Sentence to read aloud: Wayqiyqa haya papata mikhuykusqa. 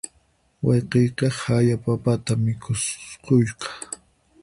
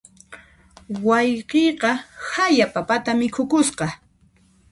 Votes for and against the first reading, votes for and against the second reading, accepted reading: 0, 4, 2, 0, second